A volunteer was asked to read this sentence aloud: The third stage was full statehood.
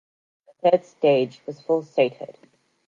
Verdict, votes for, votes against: accepted, 2, 0